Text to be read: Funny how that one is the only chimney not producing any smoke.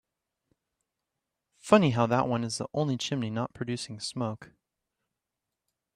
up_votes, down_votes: 0, 2